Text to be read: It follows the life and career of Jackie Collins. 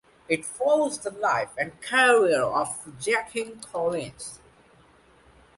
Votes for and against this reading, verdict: 2, 0, accepted